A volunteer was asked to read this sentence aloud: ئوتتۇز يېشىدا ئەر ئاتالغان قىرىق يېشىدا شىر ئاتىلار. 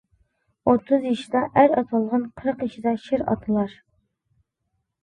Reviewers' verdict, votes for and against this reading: accepted, 2, 0